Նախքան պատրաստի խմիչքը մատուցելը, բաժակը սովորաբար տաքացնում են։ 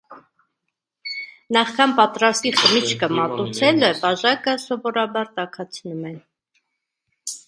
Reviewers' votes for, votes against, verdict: 0, 2, rejected